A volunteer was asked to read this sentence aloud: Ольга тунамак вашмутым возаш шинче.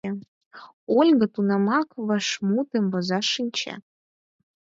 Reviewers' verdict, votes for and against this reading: accepted, 4, 0